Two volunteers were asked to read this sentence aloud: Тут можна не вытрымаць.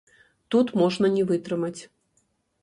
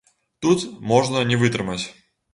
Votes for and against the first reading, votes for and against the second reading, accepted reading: 0, 2, 2, 0, second